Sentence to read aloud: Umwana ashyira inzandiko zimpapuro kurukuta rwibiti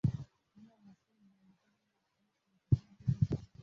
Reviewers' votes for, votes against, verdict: 0, 2, rejected